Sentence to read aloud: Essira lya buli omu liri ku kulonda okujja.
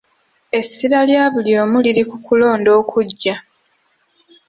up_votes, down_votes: 0, 2